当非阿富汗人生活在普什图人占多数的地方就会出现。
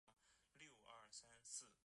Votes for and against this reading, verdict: 0, 2, rejected